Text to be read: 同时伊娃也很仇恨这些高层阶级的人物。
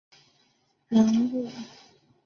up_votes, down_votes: 0, 2